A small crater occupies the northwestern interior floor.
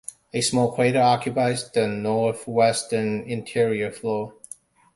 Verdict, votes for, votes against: rejected, 0, 2